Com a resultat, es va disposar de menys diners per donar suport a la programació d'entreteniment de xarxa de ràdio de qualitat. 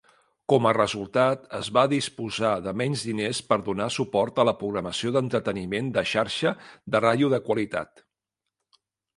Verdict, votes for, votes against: accepted, 2, 0